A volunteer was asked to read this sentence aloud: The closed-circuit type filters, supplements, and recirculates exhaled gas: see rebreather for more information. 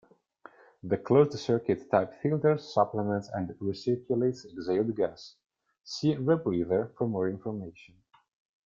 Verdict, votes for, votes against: rejected, 1, 2